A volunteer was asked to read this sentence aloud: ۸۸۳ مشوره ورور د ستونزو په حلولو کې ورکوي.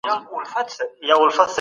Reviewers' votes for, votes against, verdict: 0, 2, rejected